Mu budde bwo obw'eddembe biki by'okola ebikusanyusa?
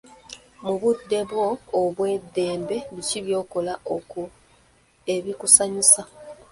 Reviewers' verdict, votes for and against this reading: rejected, 0, 2